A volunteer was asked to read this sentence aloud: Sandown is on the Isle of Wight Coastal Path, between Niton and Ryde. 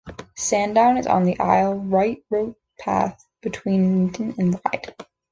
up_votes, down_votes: 0, 2